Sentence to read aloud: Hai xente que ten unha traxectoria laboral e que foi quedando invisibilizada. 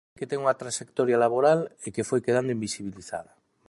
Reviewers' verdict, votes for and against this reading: rejected, 0, 2